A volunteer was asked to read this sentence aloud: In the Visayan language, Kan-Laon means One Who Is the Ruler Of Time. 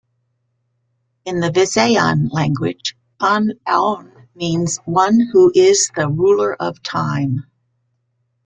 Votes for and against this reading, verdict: 2, 0, accepted